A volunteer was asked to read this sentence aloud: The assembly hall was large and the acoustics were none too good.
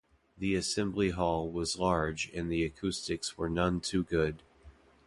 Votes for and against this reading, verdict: 2, 0, accepted